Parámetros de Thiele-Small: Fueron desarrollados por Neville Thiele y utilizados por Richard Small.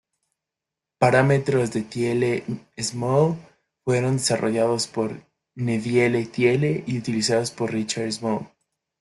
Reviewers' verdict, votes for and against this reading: rejected, 1, 2